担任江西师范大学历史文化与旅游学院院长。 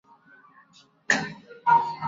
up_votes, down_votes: 1, 3